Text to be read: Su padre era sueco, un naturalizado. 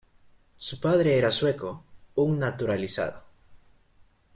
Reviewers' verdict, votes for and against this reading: accepted, 2, 0